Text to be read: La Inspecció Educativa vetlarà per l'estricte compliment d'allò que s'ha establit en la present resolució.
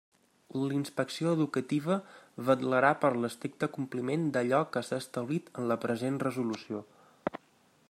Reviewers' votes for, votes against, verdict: 3, 1, accepted